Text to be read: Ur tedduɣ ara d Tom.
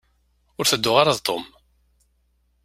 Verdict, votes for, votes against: accepted, 2, 0